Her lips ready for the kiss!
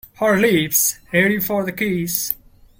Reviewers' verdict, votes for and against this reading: rejected, 1, 2